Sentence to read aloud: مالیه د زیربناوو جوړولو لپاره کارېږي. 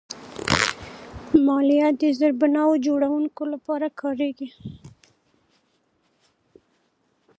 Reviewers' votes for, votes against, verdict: 0, 2, rejected